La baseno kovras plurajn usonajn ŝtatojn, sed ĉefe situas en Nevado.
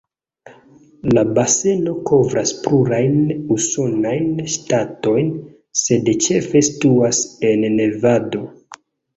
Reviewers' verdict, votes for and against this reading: accepted, 2, 0